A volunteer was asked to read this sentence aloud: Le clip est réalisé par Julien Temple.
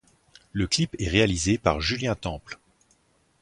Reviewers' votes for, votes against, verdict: 4, 0, accepted